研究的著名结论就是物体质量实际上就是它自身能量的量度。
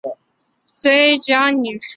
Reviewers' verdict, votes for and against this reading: rejected, 0, 4